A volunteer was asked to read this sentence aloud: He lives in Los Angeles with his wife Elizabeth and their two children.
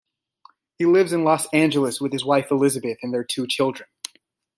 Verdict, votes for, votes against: accepted, 2, 0